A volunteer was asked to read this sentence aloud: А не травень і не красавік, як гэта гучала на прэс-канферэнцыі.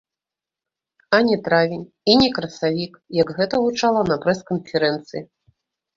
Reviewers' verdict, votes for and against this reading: rejected, 1, 2